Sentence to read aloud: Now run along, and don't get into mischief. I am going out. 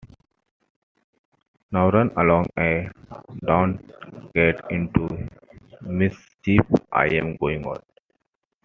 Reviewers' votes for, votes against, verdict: 2, 1, accepted